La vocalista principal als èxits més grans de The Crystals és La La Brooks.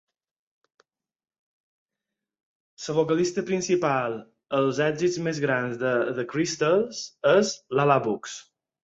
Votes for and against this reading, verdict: 4, 0, accepted